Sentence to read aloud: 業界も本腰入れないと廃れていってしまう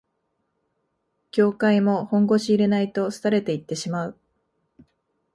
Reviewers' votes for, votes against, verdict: 2, 0, accepted